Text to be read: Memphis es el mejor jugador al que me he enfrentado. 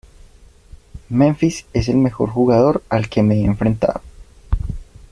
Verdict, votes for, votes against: accepted, 2, 1